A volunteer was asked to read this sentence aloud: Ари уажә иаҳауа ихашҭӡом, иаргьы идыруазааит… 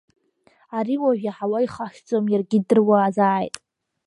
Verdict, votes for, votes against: accepted, 2, 0